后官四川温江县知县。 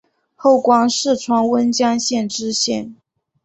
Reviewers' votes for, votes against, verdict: 2, 0, accepted